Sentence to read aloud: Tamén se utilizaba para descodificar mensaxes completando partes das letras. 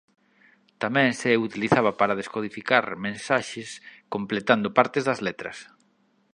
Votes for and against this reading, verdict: 3, 0, accepted